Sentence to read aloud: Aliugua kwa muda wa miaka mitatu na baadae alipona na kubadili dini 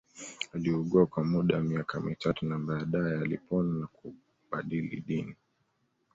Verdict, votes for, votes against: accepted, 2, 0